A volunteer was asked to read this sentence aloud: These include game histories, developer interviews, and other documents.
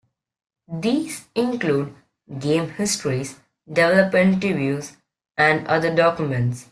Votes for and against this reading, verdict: 2, 0, accepted